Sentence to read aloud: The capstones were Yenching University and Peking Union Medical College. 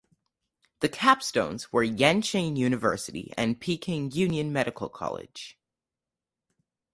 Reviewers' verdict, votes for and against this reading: rejected, 2, 2